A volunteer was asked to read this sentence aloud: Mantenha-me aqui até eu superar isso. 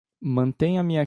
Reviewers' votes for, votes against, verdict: 0, 2, rejected